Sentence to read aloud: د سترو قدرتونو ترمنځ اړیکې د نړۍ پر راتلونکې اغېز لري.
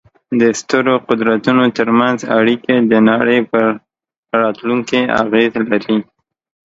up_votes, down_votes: 1, 2